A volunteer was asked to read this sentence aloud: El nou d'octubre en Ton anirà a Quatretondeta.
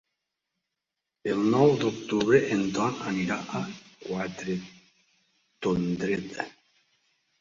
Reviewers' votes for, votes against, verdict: 0, 2, rejected